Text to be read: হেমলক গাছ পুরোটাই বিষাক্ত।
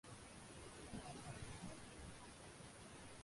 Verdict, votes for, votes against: rejected, 0, 4